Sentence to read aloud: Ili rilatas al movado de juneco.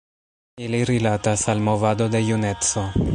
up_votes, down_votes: 2, 0